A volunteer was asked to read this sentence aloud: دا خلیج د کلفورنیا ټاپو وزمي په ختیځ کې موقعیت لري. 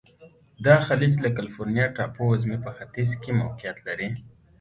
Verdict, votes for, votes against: accepted, 2, 1